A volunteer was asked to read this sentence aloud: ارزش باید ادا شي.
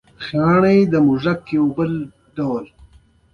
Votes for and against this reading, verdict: 2, 1, accepted